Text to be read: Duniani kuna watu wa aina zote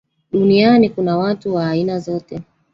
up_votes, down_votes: 1, 2